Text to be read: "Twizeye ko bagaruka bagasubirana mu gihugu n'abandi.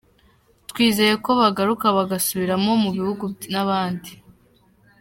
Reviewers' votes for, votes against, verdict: 1, 2, rejected